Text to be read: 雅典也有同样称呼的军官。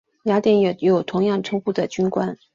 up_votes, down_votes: 3, 0